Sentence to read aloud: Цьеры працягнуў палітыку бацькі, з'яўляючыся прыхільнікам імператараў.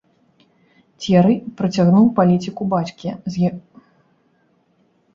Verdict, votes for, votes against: rejected, 0, 3